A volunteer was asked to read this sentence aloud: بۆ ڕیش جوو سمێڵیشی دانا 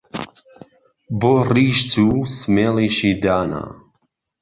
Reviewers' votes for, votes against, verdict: 2, 0, accepted